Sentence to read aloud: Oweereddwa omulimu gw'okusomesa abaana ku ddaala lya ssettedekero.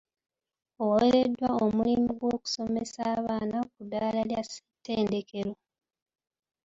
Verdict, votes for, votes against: rejected, 1, 2